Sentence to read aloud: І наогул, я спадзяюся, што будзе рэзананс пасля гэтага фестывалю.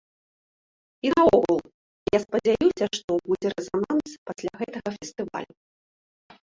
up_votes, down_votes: 0, 2